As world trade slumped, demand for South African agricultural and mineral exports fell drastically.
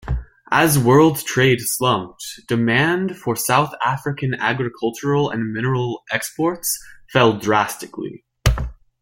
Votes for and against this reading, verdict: 2, 0, accepted